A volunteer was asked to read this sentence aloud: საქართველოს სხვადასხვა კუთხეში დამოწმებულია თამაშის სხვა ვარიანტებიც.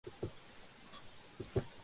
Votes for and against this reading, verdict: 0, 2, rejected